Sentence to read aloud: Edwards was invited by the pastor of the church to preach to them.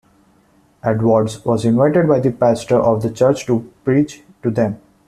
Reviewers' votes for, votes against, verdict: 2, 0, accepted